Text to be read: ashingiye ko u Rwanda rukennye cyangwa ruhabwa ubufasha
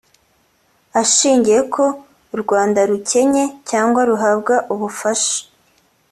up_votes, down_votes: 3, 0